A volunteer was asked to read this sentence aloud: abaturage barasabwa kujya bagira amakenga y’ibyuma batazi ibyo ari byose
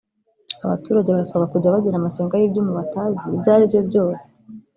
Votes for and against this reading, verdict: 0, 2, rejected